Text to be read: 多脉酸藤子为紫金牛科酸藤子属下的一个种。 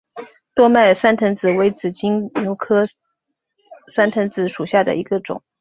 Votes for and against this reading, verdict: 1, 2, rejected